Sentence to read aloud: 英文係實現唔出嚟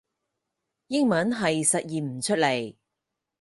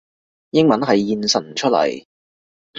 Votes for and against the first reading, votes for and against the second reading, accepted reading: 4, 0, 0, 2, first